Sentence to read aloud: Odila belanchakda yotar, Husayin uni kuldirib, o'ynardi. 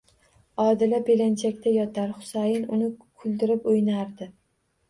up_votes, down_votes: 2, 0